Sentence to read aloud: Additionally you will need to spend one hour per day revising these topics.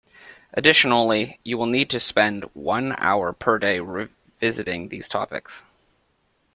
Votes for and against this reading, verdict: 1, 2, rejected